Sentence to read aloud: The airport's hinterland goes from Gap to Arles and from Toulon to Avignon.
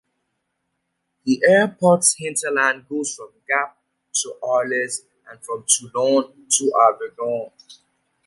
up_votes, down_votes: 2, 0